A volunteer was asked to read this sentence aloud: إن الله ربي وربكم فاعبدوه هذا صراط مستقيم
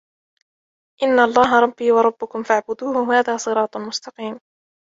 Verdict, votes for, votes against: accepted, 2, 0